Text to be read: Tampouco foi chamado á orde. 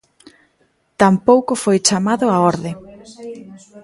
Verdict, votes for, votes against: rejected, 1, 2